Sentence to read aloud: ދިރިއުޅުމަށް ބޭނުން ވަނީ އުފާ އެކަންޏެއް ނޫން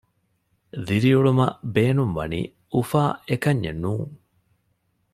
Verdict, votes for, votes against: accepted, 2, 0